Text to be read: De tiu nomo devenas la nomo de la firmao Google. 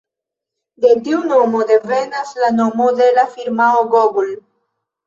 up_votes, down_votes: 0, 2